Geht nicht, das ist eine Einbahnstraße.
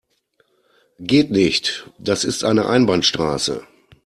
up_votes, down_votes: 2, 0